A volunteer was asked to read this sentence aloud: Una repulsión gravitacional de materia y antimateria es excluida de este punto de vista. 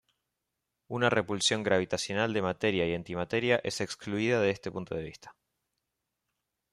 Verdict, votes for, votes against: accepted, 2, 0